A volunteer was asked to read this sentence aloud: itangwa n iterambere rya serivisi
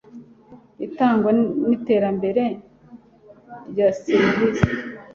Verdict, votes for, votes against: accepted, 2, 0